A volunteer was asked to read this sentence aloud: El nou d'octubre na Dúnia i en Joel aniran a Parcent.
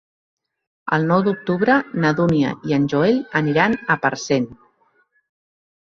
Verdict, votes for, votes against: accepted, 2, 0